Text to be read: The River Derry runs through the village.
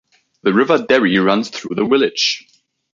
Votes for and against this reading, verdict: 1, 2, rejected